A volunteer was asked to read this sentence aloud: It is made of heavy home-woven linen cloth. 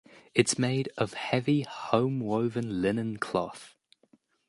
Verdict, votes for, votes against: accepted, 2, 0